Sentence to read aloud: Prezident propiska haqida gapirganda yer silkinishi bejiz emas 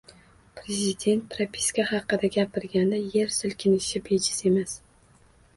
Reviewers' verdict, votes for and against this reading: accepted, 2, 0